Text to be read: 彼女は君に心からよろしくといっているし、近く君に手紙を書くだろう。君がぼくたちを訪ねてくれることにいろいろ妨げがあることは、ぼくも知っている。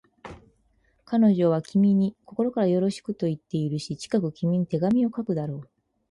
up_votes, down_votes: 2, 2